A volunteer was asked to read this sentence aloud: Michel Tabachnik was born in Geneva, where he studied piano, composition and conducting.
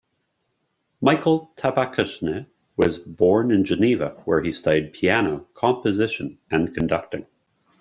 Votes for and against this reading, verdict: 2, 1, accepted